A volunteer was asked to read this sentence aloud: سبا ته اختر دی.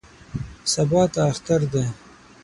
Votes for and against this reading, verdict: 6, 3, accepted